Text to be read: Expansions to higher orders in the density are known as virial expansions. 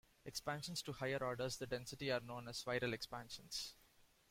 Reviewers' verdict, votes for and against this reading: accepted, 2, 1